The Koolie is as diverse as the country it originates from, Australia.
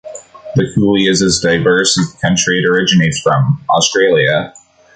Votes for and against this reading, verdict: 2, 0, accepted